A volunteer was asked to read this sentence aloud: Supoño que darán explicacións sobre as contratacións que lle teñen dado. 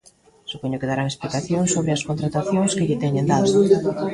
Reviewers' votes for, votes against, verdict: 1, 2, rejected